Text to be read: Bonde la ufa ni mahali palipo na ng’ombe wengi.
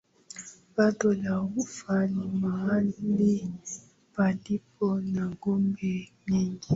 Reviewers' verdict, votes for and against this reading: rejected, 4, 6